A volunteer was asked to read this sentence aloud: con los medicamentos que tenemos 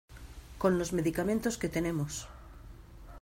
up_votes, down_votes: 3, 0